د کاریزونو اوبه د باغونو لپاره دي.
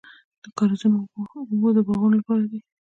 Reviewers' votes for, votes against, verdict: 1, 2, rejected